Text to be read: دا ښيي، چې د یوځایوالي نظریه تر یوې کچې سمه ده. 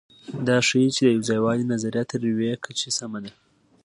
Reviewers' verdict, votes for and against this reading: accepted, 2, 0